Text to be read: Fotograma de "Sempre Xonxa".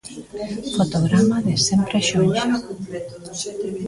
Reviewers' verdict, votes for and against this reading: rejected, 1, 2